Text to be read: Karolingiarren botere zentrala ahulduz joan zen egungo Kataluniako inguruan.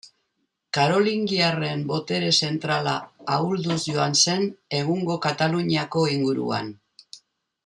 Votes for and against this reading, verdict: 2, 1, accepted